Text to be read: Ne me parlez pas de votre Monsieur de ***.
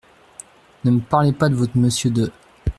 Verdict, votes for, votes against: accepted, 2, 0